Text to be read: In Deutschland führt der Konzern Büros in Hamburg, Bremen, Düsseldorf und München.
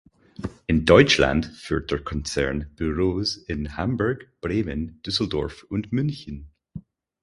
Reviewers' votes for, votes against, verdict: 4, 0, accepted